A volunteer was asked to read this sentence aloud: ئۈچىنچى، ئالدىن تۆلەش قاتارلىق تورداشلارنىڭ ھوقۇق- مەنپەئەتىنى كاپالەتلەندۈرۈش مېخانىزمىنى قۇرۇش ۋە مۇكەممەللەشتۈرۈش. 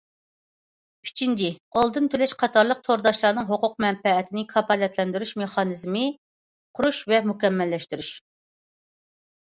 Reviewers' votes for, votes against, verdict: 0, 2, rejected